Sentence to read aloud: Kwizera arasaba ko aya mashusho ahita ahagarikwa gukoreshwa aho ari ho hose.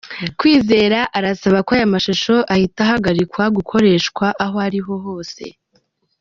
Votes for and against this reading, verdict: 2, 1, accepted